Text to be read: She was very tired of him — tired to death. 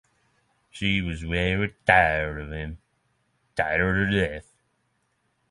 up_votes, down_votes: 6, 0